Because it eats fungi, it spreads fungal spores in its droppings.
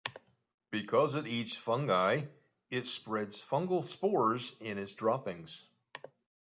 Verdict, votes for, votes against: accepted, 2, 0